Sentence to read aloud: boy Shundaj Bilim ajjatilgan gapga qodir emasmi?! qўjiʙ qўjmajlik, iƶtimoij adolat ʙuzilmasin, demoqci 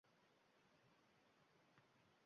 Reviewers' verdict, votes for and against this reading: rejected, 1, 2